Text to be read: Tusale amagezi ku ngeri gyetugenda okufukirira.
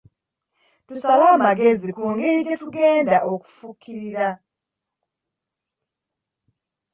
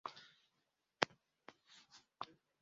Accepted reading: first